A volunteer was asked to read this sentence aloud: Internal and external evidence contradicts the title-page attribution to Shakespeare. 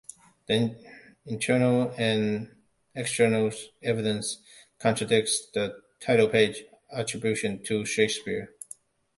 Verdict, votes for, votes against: rejected, 1, 2